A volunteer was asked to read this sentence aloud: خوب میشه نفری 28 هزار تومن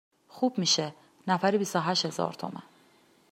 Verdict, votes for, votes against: rejected, 0, 2